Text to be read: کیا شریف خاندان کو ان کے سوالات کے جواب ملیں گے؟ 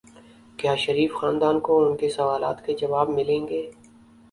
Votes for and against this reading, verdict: 2, 0, accepted